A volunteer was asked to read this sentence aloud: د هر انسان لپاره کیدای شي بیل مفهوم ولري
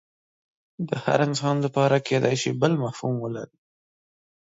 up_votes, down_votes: 1, 2